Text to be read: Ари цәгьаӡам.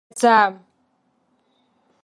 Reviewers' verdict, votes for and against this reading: rejected, 1, 2